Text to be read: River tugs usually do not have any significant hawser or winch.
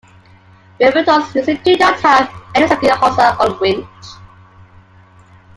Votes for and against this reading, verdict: 0, 2, rejected